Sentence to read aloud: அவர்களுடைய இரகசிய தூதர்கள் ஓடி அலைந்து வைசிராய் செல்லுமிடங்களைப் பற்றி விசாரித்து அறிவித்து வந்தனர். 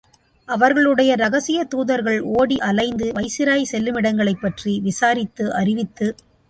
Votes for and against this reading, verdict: 0, 2, rejected